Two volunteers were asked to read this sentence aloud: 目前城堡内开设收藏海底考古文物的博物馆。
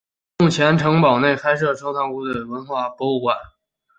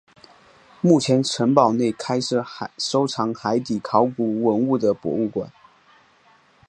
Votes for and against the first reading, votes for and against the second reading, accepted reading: 2, 4, 2, 0, second